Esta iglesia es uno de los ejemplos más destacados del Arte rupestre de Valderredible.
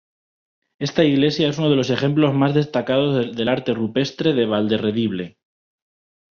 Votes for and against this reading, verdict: 2, 0, accepted